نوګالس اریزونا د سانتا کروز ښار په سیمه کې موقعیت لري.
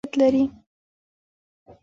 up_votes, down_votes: 2, 0